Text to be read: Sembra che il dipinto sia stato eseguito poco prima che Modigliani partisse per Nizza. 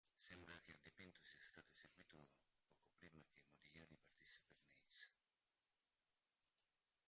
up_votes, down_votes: 0, 2